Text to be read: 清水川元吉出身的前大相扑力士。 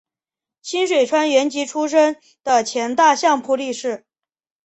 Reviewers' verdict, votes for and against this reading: accepted, 2, 1